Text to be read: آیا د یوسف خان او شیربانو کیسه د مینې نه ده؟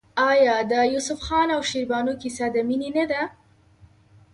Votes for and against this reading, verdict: 0, 2, rejected